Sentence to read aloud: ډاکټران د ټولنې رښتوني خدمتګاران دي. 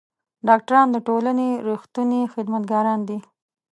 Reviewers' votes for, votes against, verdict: 2, 0, accepted